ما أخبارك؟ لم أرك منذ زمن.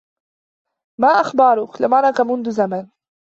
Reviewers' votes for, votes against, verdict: 2, 0, accepted